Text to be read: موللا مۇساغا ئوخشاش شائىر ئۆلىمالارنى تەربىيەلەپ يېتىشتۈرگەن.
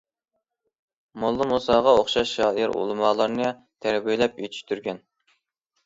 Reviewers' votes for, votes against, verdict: 2, 0, accepted